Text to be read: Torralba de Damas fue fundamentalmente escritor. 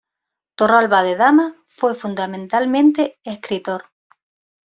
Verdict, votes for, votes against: accepted, 2, 0